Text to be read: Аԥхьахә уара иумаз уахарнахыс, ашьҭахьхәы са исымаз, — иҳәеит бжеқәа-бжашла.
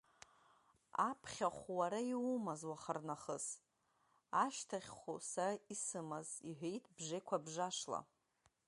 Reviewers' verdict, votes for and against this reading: accepted, 2, 1